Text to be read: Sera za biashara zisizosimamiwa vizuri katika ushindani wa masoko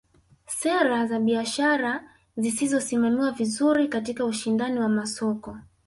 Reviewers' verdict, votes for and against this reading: accepted, 4, 0